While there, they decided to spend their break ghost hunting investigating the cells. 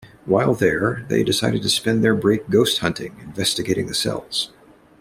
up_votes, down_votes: 2, 0